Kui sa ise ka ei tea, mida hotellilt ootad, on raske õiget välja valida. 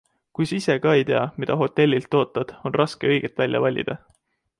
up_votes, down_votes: 2, 0